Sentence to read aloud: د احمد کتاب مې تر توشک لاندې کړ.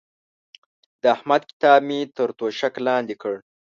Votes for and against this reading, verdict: 2, 0, accepted